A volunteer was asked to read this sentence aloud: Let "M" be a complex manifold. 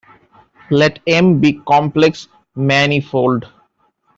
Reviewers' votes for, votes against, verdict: 0, 2, rejected